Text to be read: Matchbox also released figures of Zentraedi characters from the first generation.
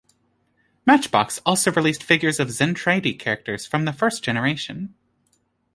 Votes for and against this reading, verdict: 2, 0, accepted